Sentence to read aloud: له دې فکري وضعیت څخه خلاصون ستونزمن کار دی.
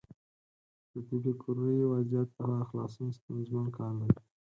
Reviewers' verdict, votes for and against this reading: accepted, 4, 0